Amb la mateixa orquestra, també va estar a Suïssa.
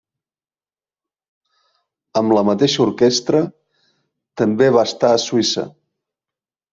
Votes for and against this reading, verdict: 3, 0, accepted